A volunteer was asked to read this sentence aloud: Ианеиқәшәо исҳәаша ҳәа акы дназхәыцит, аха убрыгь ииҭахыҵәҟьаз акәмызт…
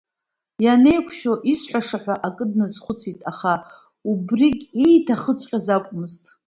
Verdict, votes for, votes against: accepted, 3, 1